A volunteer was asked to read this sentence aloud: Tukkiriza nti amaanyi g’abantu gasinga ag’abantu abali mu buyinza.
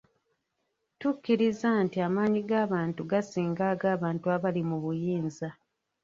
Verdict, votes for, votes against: rejected, 0, 2